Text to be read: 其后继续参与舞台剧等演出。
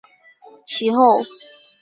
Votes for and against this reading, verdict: 0, 3, rejected